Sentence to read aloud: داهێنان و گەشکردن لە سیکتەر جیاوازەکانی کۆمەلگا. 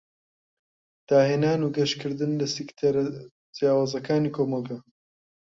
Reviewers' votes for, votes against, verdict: 2, 1, accepted